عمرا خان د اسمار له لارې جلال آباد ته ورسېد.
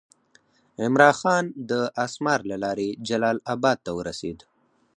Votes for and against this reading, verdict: 4, 0, accepted